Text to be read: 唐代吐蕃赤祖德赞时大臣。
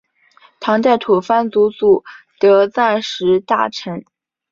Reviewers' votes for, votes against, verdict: 2, 1, accepted